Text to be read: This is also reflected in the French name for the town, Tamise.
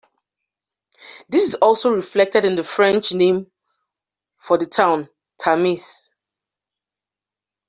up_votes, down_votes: 2, 0